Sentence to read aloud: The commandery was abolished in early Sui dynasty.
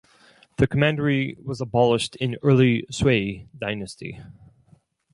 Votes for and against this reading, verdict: 0, 2, rejected